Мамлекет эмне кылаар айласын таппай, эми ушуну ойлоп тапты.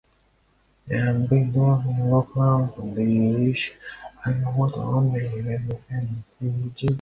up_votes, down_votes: 0, 2